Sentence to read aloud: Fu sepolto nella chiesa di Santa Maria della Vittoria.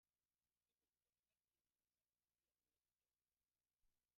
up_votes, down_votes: 0, 2